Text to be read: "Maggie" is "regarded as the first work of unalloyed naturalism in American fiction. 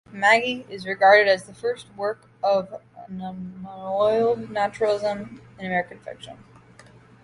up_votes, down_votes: 0, 2